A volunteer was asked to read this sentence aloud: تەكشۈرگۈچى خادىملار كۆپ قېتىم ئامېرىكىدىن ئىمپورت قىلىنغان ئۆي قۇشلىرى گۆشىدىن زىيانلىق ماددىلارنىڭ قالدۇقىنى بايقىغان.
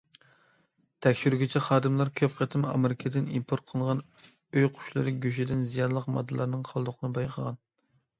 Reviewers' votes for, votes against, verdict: 2, 0, accepted